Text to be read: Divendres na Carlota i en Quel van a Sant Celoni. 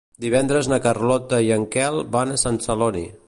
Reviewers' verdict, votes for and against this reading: accepted, 3, 0